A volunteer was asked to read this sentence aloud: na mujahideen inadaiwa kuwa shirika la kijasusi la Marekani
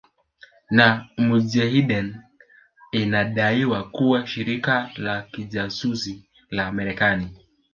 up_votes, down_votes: 1, 2